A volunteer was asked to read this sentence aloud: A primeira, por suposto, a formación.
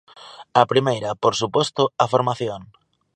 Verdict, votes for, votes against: accepted, 2, 1